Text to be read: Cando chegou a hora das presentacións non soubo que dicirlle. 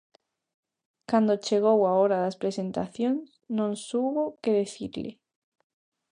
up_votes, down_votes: 0, 2